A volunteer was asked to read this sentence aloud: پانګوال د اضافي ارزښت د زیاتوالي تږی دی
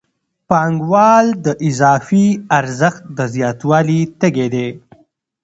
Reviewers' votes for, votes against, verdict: 2, 0, accepted